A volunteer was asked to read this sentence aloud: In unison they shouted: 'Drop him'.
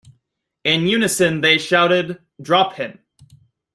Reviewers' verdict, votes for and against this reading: accepted, 2, 0